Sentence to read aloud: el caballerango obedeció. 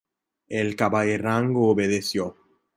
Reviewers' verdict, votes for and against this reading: accepted, 2, 0